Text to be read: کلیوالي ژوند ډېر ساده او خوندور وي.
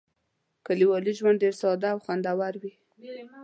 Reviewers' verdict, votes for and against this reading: accepted, 3, 1